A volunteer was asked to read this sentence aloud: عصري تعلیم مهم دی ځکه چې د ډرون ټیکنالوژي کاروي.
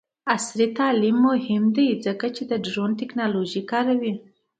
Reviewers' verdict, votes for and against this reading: accepted, 2, 0